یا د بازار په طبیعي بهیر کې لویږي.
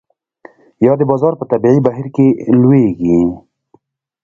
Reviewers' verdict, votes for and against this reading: rejected, 1, 2